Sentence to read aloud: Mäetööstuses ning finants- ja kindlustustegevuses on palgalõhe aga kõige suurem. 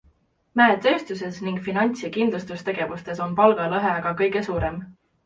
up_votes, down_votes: 2, 0